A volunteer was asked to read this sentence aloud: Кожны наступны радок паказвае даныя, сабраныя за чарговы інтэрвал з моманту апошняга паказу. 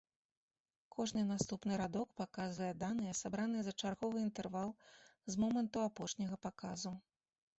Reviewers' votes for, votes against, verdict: 2, 0, accepted